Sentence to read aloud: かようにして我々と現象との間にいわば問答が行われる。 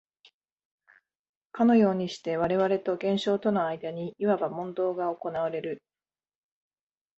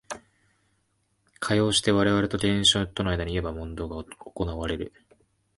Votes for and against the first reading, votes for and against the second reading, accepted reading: 1, 2, 2, 1, second